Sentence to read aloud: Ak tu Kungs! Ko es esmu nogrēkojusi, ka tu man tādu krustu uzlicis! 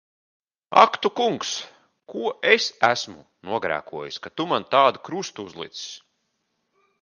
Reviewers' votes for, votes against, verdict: 3, 0, accepted